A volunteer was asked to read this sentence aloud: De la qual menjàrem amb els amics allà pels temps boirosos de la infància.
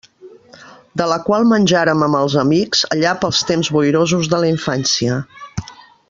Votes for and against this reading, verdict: 1, 2, rejected